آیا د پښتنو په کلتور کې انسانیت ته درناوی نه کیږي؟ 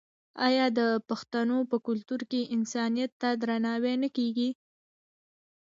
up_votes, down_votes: 1, 2